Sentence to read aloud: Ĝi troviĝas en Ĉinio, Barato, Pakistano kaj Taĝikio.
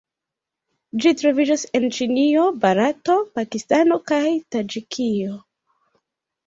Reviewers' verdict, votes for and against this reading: rejected, 0, 2